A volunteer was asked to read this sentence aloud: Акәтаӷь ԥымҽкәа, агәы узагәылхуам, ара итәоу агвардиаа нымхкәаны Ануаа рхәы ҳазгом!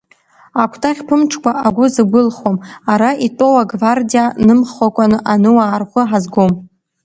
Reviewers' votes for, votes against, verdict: 0, 2, rejected